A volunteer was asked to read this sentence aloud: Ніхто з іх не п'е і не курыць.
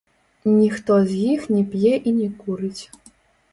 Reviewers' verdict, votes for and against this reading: rejected, 1, 2